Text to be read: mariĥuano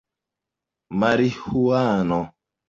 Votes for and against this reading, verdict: 0, 2, rejected